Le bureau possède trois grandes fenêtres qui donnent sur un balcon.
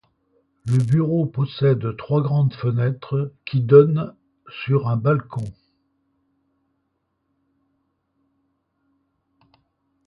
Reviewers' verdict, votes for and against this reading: accepted, 2, 0